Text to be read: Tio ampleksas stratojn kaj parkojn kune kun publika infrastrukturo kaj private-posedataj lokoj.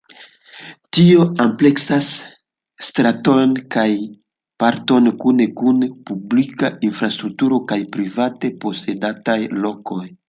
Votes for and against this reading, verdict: 2, 1, accepted